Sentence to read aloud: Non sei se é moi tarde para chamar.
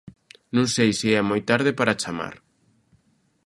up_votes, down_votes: 2, 0